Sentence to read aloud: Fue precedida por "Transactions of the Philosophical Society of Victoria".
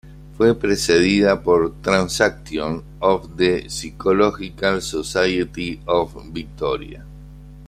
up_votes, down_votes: 0, 2